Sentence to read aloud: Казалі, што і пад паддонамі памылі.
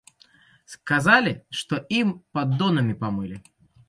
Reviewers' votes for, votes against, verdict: 0, 2, rejected